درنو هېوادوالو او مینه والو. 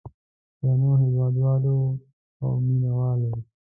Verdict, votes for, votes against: accepted, 2, 0